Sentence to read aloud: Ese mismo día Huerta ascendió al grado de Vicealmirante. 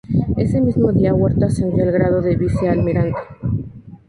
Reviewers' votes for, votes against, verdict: 0, 2, rejected